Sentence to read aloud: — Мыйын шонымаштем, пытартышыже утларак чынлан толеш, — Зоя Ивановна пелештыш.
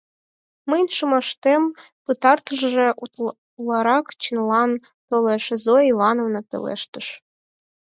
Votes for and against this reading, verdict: 0, 4, rejected